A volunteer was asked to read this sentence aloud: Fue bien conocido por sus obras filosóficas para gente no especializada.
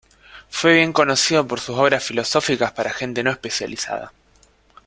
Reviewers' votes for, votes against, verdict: 2, 1, accepted